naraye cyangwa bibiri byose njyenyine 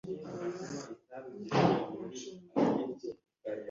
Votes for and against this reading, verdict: 1, 2, rejected